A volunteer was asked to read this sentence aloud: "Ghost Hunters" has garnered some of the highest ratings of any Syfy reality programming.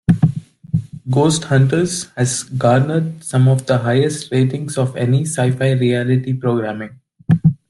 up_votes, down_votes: 2, 0